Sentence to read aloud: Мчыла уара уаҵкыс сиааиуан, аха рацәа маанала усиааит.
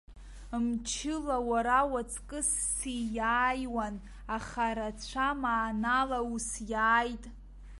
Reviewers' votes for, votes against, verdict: 1, 2, rejected